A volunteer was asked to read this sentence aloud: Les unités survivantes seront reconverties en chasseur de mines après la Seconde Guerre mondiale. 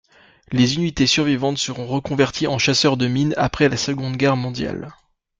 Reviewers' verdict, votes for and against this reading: accepted, 2, 0